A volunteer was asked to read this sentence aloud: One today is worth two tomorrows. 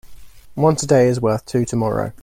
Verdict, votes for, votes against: accepted, 2, 1